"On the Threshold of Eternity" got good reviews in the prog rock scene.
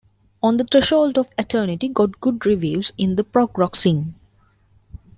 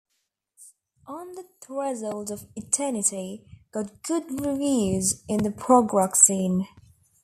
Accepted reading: first